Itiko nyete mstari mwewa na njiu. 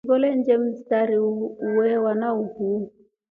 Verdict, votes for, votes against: rejected, 0, 2